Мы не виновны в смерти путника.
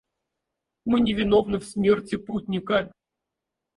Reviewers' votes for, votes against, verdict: 0, 4, rejected